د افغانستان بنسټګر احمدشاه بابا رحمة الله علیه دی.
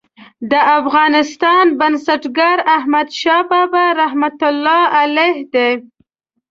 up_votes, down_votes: 2, 0